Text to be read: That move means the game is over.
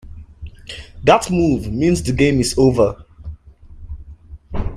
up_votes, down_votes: 2, 0